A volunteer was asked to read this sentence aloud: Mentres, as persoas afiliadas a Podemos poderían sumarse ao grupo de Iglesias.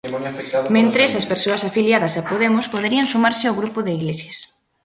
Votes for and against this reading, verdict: 0, 2, rejected